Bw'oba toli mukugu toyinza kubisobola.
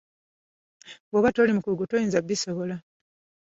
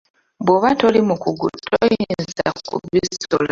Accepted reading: first